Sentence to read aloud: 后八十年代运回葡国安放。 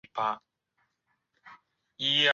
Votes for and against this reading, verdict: 0, 2, rejected